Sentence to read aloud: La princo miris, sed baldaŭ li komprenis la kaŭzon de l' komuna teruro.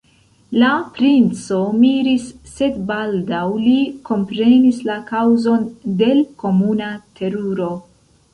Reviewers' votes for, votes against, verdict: 0, 2, rejected